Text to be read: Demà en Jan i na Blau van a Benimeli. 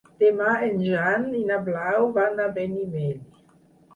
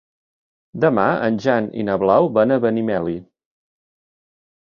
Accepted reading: second